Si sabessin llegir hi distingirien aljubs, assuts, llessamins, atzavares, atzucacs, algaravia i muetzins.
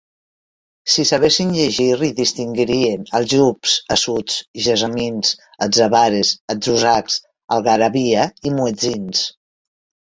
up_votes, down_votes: 1, 2